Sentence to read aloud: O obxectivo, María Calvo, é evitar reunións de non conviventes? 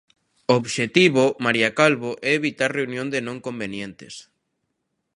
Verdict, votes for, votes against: rejected, 0, 2